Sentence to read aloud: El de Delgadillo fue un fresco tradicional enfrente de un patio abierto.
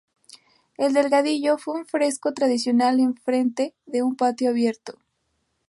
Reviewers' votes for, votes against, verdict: 0, 2, rejected